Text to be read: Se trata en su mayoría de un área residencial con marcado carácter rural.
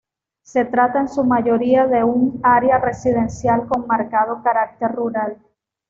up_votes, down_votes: 2, 0